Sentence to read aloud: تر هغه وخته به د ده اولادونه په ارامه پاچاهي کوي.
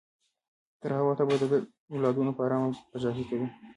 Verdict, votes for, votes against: rejected, 1, 2